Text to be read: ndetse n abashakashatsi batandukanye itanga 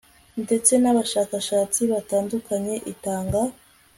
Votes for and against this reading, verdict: 2, 0, accepted